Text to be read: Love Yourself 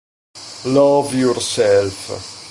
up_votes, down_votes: 2, 0